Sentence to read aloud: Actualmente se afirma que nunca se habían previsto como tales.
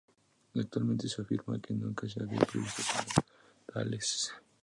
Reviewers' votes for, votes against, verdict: 2, 2, rejected